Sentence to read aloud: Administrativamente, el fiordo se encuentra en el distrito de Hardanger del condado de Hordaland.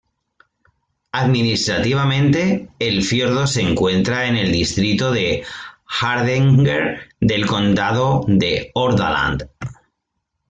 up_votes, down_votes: 2, 1